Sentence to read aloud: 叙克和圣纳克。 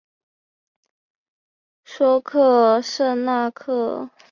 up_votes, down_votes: 2, 0